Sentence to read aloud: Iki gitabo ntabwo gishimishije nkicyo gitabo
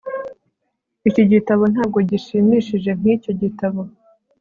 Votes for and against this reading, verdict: 2, 0, accepted